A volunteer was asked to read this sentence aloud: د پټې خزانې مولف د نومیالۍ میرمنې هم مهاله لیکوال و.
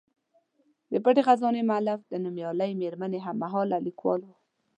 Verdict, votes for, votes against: accepted, 2, 0